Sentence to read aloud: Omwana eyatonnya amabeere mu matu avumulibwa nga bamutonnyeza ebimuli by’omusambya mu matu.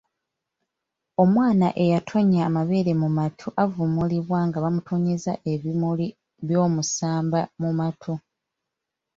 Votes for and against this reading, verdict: 2, 1, accepted